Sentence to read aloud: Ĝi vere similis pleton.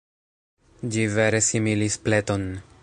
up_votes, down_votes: 1, 2